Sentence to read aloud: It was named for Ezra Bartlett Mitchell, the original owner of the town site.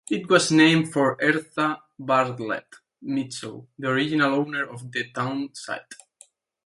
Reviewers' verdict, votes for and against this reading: accepted, 2, 0